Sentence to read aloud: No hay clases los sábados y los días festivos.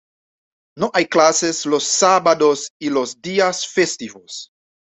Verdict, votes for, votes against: accepted, 2, 0